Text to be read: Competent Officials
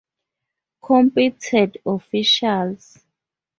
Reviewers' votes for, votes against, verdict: 2, 0, accepted